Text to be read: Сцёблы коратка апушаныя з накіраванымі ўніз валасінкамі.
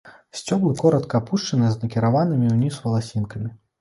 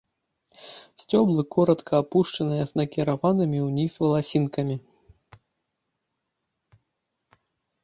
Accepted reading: first